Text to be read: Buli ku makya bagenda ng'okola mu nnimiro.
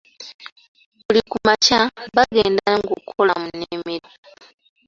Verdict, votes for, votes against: accepted, 2, 1